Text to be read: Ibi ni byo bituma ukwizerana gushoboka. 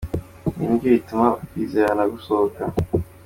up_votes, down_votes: 2, 0